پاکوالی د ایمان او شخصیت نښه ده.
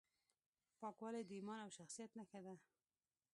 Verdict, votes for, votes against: accepted, 2, 0